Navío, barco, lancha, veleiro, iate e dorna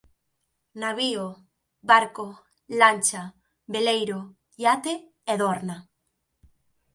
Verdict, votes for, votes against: accepted, 2, 0